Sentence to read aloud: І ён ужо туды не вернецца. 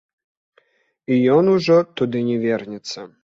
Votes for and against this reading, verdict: 0, 2, rejected